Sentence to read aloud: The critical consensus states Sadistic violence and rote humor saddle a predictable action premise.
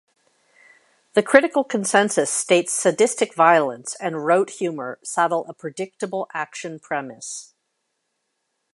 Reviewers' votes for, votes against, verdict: 2, 0, accepted